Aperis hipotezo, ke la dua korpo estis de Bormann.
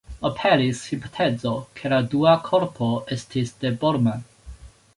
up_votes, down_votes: 2, 0